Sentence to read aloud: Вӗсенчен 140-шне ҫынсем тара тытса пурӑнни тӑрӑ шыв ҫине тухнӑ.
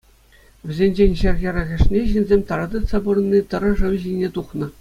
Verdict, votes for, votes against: rejected, 0, 2